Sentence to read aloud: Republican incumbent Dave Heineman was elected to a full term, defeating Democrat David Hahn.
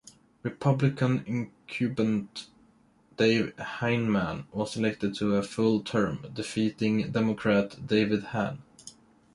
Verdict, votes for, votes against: rejected, 1, 2